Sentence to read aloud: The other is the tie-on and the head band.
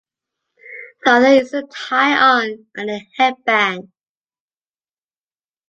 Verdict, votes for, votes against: accepted, 2, 1